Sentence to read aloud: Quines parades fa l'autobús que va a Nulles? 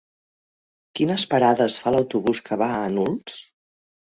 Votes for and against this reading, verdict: 1, 2, rejected